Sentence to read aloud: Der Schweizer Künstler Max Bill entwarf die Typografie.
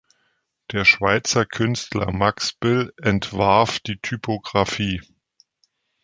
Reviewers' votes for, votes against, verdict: 2, 0, accepted